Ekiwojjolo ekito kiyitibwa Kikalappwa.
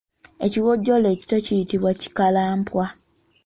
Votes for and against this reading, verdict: 1, 2, rejected